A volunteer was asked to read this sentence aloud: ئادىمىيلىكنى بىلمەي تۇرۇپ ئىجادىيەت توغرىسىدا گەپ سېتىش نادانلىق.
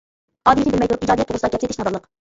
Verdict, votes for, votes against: rejected, 0, 2